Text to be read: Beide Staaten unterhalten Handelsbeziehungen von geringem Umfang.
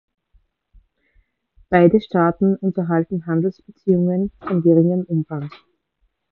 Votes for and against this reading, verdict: 3, 1, accepted